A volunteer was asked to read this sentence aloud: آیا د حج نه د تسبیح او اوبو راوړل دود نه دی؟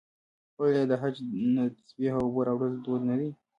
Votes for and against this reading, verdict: 1, 2, rejected